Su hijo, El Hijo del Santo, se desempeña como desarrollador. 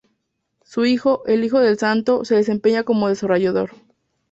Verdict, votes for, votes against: accepted, 2, 0